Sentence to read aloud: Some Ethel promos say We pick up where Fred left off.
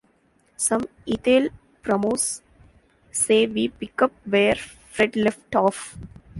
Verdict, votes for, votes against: rejected, 1, 2